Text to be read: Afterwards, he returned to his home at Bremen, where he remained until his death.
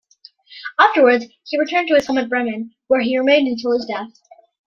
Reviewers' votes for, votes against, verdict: 2, 0, accepted